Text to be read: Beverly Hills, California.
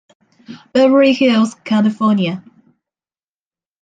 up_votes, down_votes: 0, 2